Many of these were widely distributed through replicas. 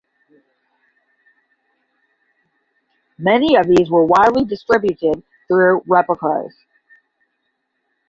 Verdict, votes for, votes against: rejected, 5, 10